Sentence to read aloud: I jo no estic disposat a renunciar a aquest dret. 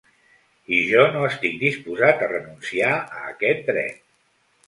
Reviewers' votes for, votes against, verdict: 2, 0, accepted